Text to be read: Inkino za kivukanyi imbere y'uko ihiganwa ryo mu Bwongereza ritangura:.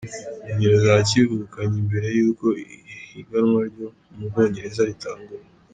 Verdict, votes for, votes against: rejected, 0, 2